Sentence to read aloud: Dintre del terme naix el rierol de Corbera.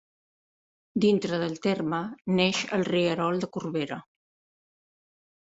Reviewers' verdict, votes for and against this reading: rejected, 1, 2